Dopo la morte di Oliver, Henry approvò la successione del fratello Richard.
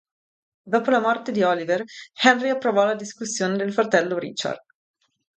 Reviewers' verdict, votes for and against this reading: accepted, 2, 0